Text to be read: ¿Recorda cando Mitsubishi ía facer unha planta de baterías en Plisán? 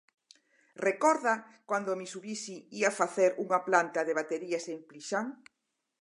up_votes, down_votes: 0, 4